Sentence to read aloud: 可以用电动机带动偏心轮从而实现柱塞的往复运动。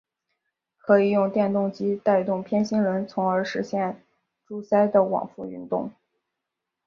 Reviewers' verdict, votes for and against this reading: accepted, 3, 0